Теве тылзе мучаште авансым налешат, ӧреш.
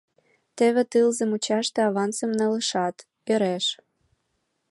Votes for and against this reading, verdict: 2, 1, accepted